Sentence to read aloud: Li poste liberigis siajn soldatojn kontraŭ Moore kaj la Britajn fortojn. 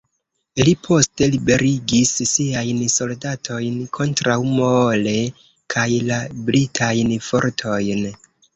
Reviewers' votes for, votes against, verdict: 0, 2, rejected